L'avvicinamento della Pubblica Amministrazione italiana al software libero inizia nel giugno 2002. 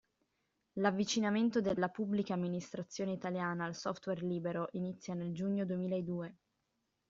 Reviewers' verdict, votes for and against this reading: rejected, 0, 2